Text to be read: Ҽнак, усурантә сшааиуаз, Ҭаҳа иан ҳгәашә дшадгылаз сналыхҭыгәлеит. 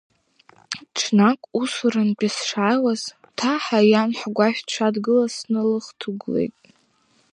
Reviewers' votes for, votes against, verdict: 1, 2, rejected